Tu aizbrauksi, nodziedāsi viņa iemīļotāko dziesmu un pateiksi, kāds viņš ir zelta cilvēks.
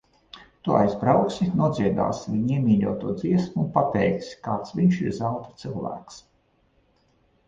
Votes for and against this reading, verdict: 0, 2, rejected